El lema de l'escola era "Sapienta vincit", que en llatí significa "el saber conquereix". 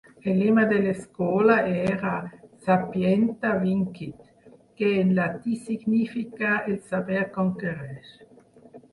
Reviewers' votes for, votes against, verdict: 0, 4, rejected